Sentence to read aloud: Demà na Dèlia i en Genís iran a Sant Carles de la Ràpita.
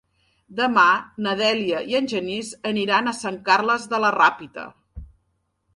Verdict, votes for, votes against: rejected, 1, 3